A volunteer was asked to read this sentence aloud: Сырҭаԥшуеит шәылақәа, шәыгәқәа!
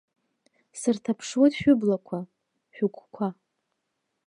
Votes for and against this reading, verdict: 1, 2, rejected